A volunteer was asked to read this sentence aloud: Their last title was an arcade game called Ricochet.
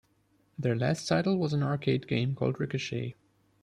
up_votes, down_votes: 2, 0